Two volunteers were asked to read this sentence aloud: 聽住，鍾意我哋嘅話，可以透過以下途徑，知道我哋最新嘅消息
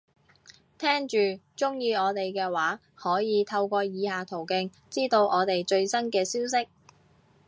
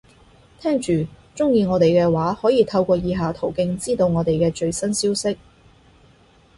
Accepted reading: first